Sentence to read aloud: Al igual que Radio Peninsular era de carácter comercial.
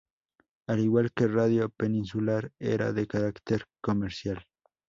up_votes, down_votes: 2, 0